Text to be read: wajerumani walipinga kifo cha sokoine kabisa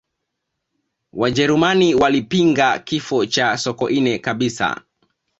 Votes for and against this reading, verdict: 0, 2, rejected